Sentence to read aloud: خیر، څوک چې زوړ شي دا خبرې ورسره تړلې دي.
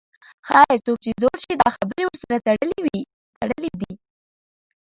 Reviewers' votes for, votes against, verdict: 0, 3, rejected